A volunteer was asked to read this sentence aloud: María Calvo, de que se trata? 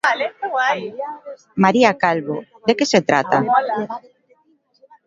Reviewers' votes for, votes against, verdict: 2, 1, accepted